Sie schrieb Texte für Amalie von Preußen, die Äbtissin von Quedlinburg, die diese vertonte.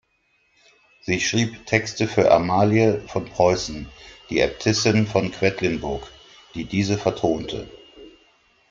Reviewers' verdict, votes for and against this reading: rejected, 1, 2